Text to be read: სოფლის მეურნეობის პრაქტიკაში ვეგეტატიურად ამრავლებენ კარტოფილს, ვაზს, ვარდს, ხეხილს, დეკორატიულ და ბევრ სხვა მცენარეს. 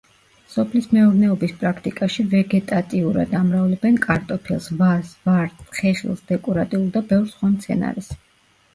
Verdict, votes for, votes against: rejected, 1, 2